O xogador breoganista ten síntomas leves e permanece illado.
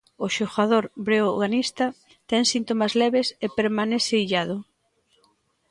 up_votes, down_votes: 2, 0